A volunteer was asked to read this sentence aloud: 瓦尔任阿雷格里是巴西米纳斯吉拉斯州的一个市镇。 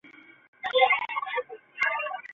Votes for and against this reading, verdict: 0, 2, rejected